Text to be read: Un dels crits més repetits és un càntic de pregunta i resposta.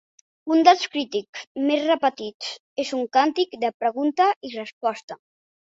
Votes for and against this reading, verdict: 0, 2, rejected